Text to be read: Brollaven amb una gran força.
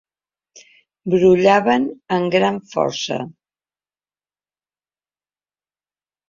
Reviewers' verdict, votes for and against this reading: rejected, 0, 2